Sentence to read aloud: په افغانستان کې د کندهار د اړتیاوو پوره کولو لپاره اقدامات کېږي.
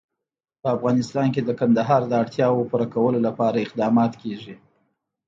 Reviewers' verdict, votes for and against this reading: rejected, 0, 2